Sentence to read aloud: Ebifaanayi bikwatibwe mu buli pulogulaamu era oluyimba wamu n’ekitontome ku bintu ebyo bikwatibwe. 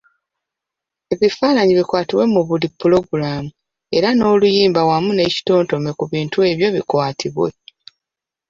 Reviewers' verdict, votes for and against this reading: accepted, 2, 1